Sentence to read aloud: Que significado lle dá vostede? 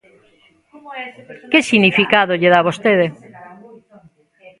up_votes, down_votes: 0, 2